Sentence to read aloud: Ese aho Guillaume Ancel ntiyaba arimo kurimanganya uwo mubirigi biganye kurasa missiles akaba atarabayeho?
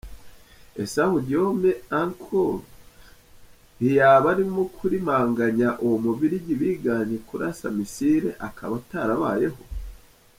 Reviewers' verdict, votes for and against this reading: rejected, 1, 2